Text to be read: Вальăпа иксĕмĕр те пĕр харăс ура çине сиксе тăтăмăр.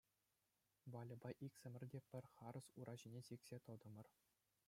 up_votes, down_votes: 2, 0